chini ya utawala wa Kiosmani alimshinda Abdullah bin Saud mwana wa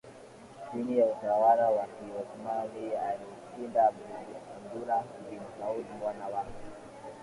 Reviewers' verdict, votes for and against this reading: rejected, 3, 4